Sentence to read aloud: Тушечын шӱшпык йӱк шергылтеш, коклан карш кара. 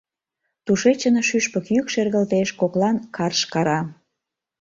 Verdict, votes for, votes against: accepted, 2, 0